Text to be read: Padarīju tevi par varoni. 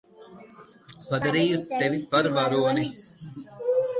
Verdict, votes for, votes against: rejected, 1, 2